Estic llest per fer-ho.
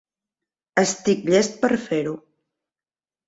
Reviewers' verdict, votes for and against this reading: accepted, 3, 0